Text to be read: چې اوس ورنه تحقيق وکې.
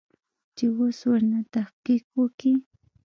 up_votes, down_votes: 1, 2